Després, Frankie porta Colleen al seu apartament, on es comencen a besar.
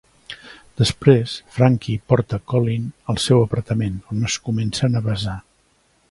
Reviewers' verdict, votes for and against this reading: accepted, 2, 0